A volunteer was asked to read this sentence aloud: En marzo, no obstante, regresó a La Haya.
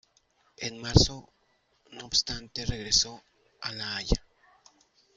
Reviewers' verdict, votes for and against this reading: rejected, 1, 2